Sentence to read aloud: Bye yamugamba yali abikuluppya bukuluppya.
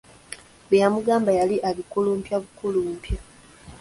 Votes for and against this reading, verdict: 2, 1, accepted